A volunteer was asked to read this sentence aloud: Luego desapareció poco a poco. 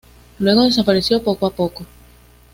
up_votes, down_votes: 2, 0